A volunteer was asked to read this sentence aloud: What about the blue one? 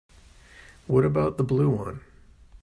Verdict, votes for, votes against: accepted, 3, 0